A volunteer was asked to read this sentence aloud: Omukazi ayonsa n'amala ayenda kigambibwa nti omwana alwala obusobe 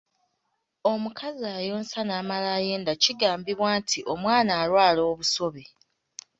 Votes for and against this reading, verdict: 2, 0, accepted